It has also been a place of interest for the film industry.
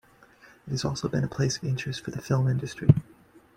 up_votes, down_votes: 2, 0